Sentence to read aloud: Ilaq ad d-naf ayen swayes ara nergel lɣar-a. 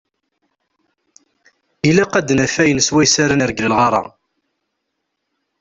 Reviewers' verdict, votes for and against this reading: accepted, 2, 0